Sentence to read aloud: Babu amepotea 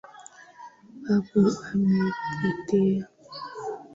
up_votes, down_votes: 0, 2